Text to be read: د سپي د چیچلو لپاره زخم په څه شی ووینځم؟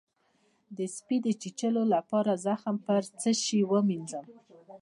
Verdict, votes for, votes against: accepted, 2, 0